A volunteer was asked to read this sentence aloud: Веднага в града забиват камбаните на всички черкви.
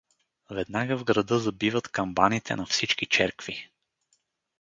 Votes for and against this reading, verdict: 4, 0, accepted